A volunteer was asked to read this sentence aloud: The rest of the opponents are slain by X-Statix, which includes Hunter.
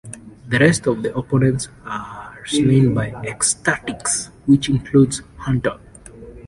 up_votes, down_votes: 0, 2